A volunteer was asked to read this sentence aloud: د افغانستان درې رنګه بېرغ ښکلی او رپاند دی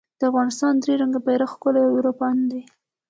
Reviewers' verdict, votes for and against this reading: accepted, 2, 0